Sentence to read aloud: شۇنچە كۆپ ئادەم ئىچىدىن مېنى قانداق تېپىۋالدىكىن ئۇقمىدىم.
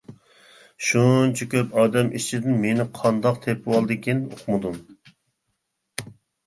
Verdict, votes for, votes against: accepted, 2, 0